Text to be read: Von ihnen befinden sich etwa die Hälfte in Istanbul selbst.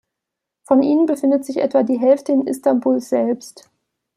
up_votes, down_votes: 1, 2